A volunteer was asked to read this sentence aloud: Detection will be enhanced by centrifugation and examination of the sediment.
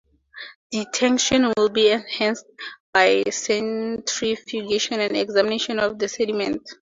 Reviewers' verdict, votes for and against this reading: rejected, 0, 2